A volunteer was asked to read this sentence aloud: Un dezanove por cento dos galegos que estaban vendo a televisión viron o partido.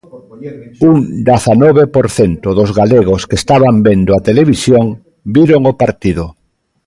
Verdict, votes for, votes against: rejected, 0, 2